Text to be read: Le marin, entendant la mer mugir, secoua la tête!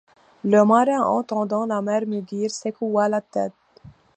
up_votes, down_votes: 2, 0